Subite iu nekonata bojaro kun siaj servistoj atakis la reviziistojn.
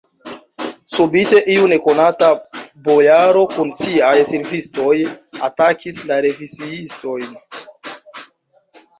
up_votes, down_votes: 1, 2